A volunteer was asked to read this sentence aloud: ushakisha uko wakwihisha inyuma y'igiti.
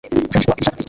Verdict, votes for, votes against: rejected, 0, 3